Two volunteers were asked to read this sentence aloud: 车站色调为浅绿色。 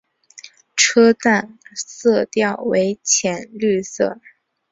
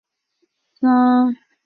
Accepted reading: first